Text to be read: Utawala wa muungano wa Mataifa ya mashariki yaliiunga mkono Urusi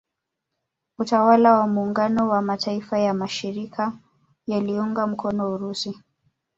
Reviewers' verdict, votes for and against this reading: accepted, 3, 1